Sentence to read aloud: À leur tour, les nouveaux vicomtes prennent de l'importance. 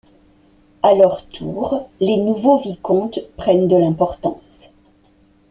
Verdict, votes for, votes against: accepted, 2, 0